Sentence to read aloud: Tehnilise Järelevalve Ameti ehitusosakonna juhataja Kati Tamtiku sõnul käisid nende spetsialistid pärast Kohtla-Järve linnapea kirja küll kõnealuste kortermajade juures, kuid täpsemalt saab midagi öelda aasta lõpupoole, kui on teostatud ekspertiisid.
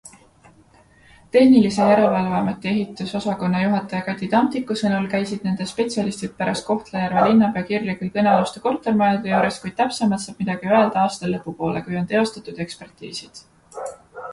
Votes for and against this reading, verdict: 2, 0, accepted